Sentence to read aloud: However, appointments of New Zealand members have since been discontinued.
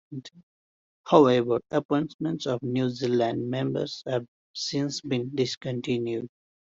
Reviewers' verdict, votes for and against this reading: accepted, 2, 1